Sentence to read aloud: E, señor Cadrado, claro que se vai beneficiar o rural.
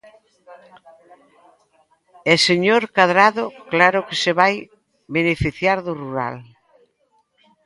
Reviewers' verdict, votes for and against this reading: rejected, 0, 2